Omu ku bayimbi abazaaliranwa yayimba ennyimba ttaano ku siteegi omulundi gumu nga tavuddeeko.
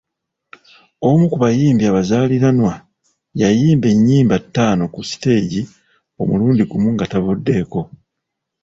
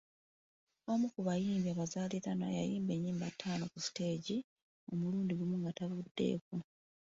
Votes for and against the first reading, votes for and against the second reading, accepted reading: 2, 1, 0, 2, first